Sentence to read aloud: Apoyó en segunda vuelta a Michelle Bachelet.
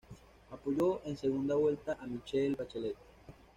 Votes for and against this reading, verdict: 2, 1, accepted